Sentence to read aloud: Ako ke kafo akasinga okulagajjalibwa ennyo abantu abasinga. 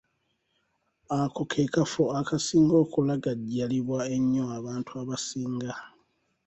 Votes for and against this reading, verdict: 2, 0, accepted